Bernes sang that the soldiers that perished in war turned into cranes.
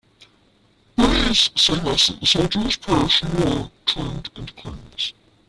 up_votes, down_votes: 0, 2